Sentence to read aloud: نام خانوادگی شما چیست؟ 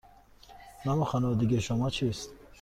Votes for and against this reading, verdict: 2, 0, accepted